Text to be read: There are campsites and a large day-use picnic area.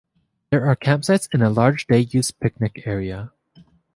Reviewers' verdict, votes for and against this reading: accepted, 2, 0